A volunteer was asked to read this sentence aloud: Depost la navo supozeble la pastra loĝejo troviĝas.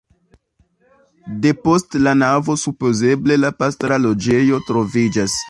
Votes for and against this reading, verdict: 2, 1, accepted